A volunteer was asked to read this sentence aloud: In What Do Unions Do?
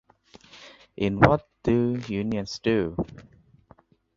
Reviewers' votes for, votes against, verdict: 2, 3, rejected